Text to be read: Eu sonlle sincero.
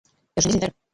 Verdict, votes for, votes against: rejected, 0, 2